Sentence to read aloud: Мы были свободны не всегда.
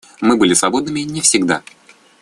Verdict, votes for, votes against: rejected, 0, 2